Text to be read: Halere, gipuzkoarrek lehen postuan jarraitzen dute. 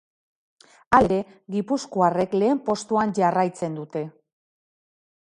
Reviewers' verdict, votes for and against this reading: rejected, 0, 2